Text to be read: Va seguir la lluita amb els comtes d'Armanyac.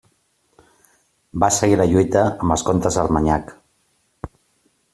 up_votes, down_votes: 2, 0